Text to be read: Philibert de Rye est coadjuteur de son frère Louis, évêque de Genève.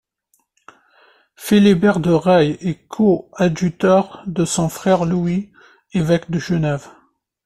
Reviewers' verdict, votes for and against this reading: rejected, 1, 2